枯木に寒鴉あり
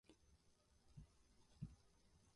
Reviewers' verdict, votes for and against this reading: rejected, 0, 3